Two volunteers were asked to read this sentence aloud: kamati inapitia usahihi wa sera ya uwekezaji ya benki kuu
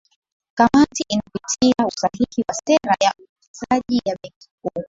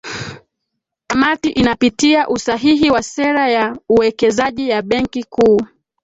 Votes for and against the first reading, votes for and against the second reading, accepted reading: 0, 2, 2, 1, second